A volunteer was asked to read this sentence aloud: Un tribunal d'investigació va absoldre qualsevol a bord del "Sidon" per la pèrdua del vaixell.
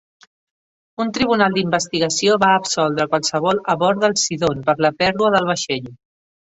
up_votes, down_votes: 3, 0